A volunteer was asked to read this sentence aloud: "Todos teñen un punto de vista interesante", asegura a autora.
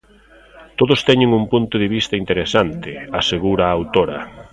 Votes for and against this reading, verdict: 0, 2, rejected